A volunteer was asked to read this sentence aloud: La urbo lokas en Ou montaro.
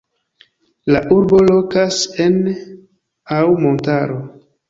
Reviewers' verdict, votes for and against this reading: rejected, 1, 2